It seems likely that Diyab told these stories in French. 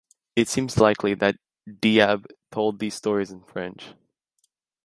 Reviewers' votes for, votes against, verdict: 2, 0, accepted